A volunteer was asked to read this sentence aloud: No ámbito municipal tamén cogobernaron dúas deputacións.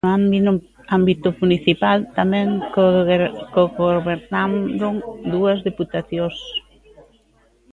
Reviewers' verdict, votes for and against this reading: rejected, 0, 2